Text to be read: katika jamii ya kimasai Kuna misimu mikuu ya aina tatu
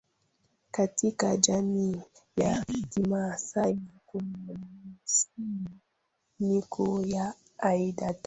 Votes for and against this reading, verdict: 0, 2, rejected